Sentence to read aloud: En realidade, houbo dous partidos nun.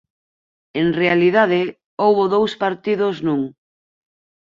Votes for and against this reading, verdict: 4, 2, accepted